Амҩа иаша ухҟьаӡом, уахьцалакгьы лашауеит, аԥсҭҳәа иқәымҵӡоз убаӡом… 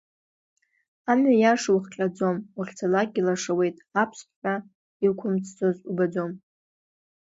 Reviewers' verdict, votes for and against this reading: accepted, 2, 0